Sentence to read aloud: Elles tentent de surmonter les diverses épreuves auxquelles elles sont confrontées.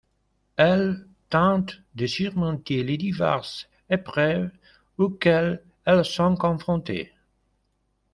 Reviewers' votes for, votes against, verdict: 2, 0, accepted